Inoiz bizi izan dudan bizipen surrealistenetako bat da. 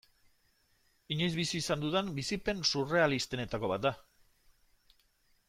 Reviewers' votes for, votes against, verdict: 2, 0, accepted